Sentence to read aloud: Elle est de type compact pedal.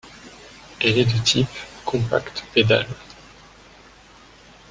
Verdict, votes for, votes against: rejected, 0, 2